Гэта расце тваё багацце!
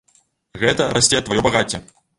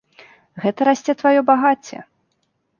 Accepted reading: second